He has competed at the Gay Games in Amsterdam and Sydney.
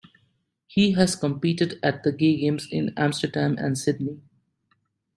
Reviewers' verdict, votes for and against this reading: accepted, 2, 1